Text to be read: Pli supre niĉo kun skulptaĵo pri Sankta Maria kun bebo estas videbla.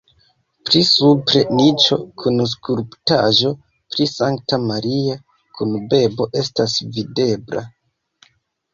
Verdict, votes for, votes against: accepted, 2, 1